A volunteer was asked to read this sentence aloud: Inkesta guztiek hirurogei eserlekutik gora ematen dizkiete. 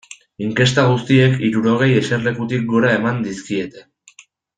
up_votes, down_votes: 0, 2